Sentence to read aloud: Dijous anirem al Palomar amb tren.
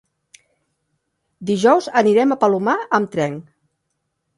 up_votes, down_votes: 0, 2